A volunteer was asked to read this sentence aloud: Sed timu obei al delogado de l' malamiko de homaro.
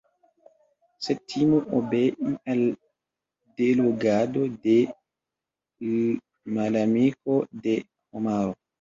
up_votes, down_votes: 0, 2